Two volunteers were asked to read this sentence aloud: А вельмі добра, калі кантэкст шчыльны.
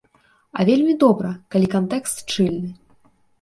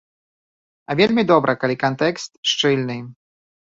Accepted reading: second